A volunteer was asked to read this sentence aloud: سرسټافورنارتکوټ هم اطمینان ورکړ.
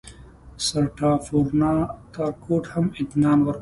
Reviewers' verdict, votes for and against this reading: rejected, 0, 2